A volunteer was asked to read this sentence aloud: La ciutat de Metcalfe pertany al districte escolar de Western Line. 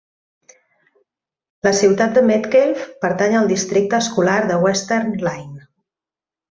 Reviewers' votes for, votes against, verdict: 1, 2, rejected